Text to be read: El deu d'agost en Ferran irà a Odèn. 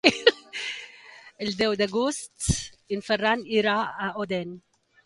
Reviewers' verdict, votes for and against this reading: rejected, 1, 2